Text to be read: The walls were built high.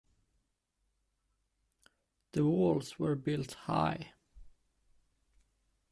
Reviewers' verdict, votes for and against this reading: rejected, 0, 2